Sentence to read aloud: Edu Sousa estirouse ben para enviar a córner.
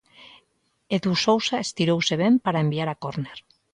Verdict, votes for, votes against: accepted, 2, 0